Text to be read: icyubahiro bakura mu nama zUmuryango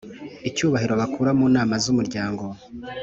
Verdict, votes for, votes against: accepted, 3, 0